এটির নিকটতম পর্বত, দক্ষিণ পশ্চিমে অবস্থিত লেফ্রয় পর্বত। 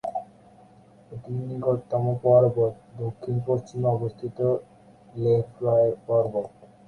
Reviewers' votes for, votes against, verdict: 4, 8, rejected